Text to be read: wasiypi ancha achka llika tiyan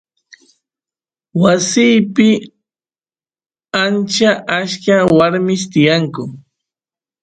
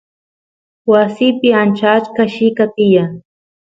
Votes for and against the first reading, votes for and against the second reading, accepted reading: 1, 2, 2, 0, second